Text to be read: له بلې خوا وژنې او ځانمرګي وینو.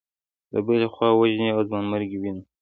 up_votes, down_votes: 2, 1